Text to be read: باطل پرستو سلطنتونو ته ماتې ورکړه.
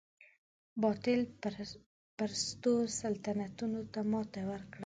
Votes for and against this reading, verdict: 1, 2, rejected